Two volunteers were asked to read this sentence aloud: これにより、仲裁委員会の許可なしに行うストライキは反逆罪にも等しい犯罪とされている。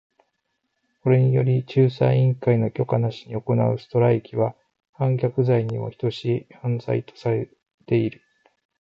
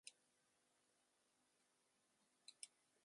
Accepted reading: first